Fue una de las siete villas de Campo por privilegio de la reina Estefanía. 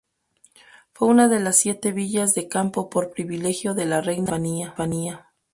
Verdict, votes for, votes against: rejected, 0, 2